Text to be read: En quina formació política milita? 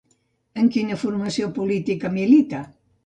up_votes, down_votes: 3, 0